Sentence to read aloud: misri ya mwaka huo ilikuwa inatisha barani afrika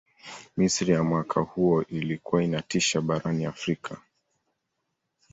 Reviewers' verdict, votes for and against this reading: rejected, 1, 2